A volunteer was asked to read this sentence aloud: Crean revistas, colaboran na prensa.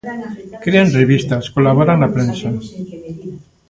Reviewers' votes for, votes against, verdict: 1, 2, rejected